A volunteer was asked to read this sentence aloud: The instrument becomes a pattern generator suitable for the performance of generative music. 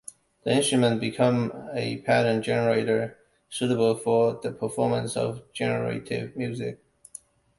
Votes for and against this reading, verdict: 0, 2, rejected